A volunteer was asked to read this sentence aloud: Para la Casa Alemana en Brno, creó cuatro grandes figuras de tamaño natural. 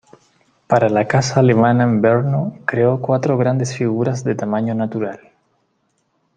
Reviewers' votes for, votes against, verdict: 2, 0, accepted